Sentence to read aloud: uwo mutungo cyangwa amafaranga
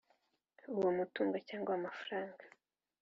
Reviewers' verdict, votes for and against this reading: accepted, 4, 0